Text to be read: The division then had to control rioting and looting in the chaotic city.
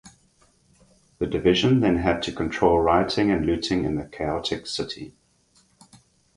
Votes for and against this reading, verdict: 4, 0, accepted